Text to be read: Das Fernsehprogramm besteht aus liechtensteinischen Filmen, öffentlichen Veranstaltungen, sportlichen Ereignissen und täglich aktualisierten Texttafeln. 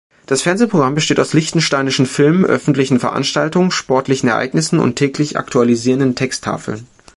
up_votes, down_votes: 1, 2